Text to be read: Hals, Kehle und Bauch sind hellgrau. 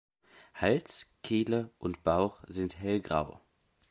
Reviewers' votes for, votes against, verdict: 2, 0, accepted